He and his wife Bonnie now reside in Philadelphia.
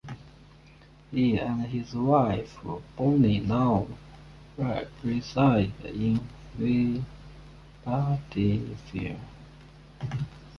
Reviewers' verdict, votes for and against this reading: rejected, 0, 2